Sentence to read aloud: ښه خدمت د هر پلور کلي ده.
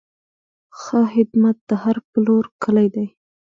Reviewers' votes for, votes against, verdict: 0, 2, rejected